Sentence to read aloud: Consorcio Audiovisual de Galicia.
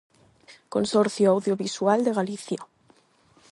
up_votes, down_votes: 8, 0